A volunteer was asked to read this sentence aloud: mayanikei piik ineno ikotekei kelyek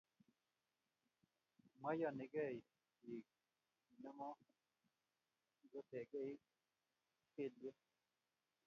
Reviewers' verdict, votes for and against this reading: rejected, 1, 2